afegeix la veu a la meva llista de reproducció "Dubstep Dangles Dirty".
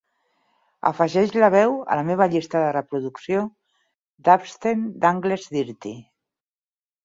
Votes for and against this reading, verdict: 0, 4, rejected